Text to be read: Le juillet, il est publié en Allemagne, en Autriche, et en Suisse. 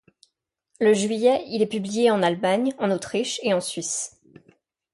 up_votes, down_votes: 2, 0